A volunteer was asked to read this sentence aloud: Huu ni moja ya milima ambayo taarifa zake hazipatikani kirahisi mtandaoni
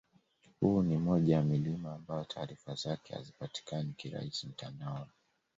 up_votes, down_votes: 2, 0